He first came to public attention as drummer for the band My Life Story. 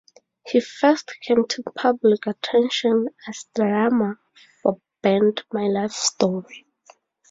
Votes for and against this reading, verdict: 0, 4, rejected